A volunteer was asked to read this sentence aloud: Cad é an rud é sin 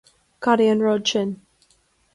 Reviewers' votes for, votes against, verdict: 1, 2, rejected